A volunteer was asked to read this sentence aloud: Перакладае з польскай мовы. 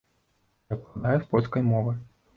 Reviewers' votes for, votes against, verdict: 1, 2, rejected